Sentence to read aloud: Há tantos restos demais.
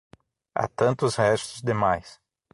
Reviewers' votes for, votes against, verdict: 6, 0, accepted